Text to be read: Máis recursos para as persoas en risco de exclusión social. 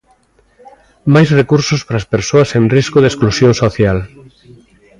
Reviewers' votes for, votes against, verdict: 2, 0, accepted